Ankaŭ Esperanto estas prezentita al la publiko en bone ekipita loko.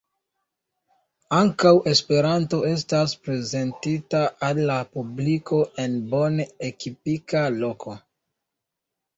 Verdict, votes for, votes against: rejected, 1, 2